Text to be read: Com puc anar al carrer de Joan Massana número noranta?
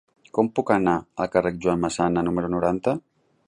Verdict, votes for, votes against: accepted, 2, 1